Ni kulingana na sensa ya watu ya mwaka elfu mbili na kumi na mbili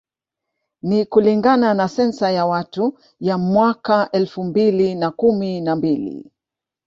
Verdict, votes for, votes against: accepted, 2, 0